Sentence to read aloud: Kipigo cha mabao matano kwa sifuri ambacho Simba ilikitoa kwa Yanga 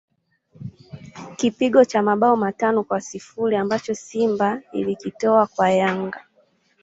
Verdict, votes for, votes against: rejected, 1, 2